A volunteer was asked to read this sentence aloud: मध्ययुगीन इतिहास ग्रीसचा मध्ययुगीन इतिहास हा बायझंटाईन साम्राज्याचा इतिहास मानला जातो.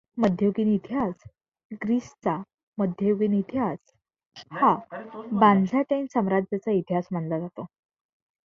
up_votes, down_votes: 1, 2